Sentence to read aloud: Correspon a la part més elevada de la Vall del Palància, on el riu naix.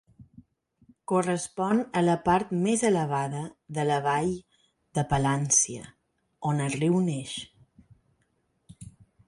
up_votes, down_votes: 2, 4